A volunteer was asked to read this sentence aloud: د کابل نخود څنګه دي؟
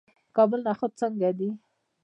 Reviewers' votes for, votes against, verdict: 0, 2, rejected